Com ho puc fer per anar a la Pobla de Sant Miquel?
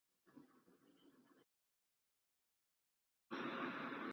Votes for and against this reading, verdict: 0, 2, rejected